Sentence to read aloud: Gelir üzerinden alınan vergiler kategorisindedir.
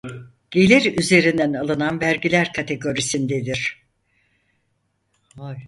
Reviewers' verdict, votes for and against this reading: rejected, 2, 4